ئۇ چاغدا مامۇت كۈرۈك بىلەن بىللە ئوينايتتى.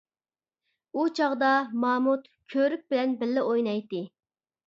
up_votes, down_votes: 1, 2